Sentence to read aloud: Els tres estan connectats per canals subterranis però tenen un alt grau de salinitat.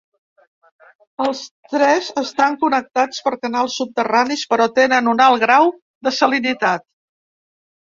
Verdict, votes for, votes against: accepted, 3, 0